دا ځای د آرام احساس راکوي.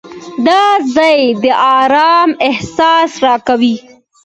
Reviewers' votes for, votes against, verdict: 2, 0, accepted